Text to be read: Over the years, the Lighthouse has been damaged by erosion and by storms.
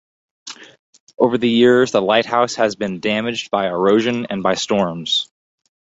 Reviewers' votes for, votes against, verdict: 4, 0, accepted